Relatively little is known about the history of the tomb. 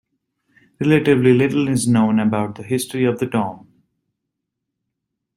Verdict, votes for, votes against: rejected, 1, 2